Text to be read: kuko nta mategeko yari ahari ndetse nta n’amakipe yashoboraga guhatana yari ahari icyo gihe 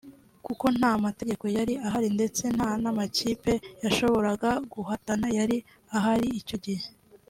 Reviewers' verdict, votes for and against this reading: accepted, 2, 1